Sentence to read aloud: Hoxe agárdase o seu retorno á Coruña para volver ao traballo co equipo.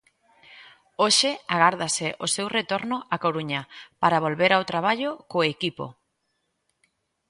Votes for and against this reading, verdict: 2, 0, accepted